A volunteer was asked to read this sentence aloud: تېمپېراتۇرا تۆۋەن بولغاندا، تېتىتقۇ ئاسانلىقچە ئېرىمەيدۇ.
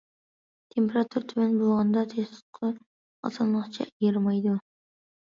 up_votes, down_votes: 1, 2